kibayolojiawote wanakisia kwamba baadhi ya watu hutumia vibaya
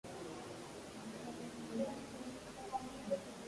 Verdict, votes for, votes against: rejected, 0, 2